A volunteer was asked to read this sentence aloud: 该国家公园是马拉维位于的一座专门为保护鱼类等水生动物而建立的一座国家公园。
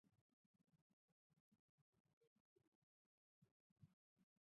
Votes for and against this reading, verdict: 0, 3, rejected